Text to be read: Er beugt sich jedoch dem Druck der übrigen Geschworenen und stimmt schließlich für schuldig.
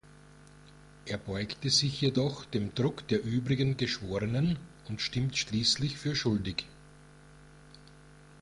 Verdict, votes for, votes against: rejected, 1, 2